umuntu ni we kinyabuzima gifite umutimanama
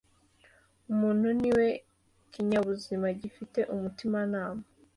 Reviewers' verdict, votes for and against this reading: accepted, 2, 0